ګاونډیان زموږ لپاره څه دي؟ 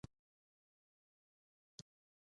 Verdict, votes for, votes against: rejected, 1, 2